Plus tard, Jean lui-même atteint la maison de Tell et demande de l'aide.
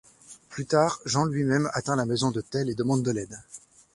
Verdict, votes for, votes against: accepted, 2, 0